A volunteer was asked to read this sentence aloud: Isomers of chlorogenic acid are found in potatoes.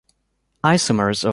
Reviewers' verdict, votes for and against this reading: rejected, 0, 2